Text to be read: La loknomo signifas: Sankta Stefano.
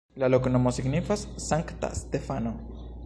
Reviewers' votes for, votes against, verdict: 0, 2, rejected